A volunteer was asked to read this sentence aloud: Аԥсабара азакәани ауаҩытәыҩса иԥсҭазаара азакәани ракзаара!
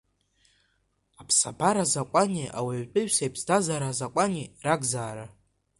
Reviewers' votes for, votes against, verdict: 2, 1, accepted